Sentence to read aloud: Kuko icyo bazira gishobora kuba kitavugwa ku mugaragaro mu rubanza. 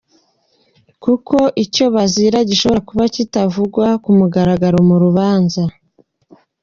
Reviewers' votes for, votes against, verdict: 2, 0, accepted